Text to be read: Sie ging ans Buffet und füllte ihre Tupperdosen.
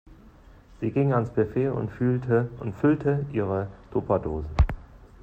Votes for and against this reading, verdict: 1, 2, rejected